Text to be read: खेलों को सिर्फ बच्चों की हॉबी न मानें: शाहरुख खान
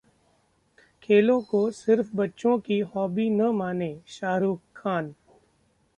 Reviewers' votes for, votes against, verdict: 2, 0, accepted